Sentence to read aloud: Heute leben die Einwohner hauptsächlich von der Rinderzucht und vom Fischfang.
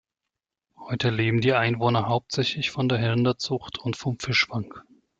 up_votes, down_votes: 1, 2